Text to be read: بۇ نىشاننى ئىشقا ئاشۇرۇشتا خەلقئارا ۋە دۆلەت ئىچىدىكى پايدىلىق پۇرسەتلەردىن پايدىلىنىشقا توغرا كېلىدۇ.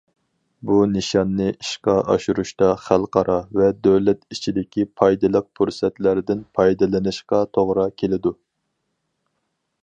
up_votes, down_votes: 4, 0